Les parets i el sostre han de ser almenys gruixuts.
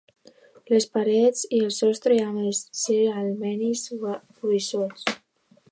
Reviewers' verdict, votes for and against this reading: rejected, 0, 2